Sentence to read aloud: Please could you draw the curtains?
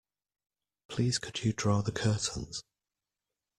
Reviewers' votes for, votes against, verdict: 2, 0, accepted